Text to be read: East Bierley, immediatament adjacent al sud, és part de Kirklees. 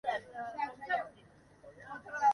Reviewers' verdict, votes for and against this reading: rejected, 0, 2